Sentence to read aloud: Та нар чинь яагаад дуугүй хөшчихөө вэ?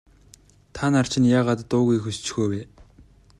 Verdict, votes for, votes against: accepted, 2, 0